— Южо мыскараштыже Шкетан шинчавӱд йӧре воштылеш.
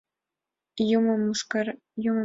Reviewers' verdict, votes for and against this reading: rejected, 1, 2